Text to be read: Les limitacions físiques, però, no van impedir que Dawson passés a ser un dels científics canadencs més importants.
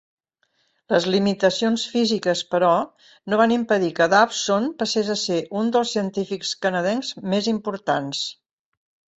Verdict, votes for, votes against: accepted, 2, 0